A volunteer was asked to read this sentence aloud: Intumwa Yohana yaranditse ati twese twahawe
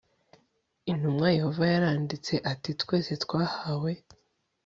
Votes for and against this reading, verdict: 1, 2, rejected